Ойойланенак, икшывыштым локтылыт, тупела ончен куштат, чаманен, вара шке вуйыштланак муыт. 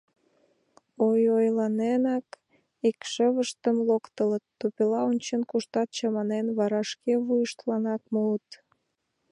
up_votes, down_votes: 2, 0